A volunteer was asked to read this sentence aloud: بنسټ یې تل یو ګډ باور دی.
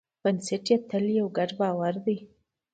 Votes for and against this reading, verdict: 2, 0, accepted